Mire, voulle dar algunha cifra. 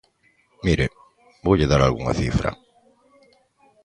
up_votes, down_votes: 2, 0